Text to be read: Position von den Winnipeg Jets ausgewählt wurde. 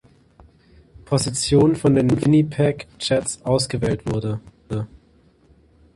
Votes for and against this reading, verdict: 0, 2, rejected